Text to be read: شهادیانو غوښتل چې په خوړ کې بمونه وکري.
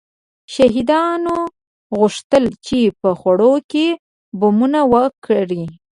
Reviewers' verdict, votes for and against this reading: rejected, 0, 2